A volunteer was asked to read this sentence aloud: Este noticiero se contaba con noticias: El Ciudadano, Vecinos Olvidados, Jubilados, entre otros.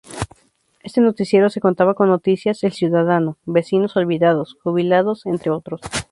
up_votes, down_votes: 2, 0